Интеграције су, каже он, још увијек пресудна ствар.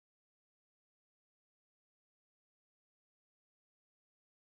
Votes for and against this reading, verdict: 0, 2, rejected